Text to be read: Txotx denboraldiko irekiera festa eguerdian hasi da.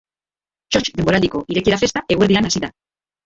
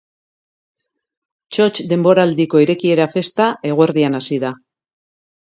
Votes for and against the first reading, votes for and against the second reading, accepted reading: 0, 2, 2, 0, second